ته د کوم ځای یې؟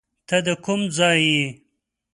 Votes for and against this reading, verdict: 2, 0, accepted